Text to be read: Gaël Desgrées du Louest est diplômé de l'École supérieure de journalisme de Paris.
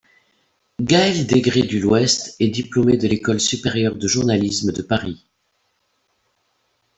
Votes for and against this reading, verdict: 0, 2, rejected